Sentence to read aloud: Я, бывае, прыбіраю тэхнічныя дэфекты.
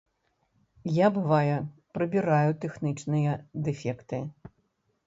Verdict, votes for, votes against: accepted, 2, 0